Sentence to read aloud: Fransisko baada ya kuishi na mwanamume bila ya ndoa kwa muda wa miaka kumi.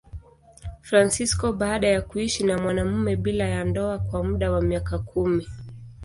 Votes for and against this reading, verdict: 2, 0, accepted